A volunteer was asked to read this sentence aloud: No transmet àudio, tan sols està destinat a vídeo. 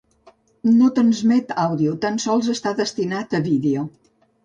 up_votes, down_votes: 3, 0